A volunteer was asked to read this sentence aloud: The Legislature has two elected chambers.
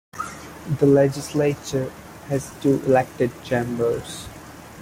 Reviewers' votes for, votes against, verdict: 1, 2, rejected